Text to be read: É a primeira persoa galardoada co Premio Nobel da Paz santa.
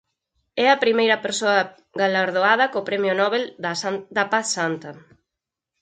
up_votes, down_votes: 2, 4